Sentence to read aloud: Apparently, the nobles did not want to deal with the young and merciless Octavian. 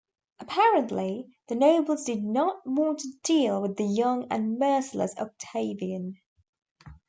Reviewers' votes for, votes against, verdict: 2, 0, accepted